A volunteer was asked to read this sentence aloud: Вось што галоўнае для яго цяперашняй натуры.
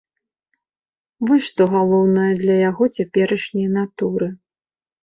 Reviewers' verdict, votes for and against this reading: accepted, 2, 0